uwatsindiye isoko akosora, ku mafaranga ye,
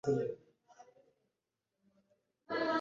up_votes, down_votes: 0, 2